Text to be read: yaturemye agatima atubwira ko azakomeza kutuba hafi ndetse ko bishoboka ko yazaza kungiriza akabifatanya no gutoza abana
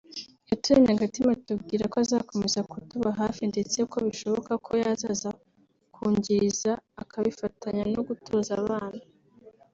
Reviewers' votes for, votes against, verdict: 2, 0, accepted